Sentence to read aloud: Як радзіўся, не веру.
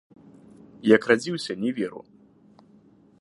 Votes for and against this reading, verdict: 2, 0, accepted